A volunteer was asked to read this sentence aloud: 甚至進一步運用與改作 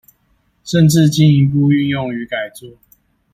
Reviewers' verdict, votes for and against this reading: accepted, 2, 0